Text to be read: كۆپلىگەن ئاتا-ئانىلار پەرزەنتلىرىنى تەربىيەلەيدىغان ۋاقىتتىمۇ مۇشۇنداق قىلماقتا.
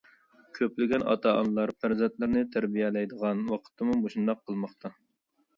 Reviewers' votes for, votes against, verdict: 2, 0, accepted